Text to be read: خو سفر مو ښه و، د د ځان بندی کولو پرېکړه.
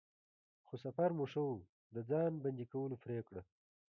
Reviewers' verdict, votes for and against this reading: accepted, 2, 0